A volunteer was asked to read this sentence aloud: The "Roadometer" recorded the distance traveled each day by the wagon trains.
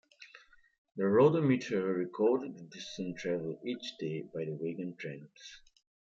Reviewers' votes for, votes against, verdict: 2, 0, accepted